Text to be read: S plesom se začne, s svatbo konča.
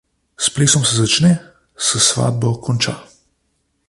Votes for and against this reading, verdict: 2, 0, accepted